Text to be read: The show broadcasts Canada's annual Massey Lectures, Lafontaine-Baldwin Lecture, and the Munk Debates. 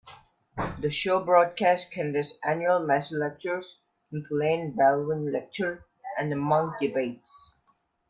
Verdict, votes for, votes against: rejected, 0, 2